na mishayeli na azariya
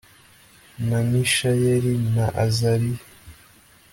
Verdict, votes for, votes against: accepted, 2, 0